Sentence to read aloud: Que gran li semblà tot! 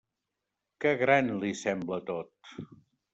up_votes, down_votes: 1, 2